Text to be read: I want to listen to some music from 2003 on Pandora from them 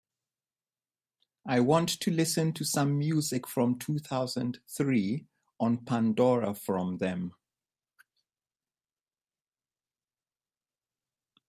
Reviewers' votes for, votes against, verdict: 0, 2, rejected